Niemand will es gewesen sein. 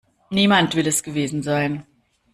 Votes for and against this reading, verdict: 2, 0, accepted